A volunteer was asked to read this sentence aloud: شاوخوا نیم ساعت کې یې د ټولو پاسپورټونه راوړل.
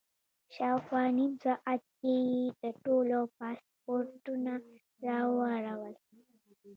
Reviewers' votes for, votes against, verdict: 0, 2, rejected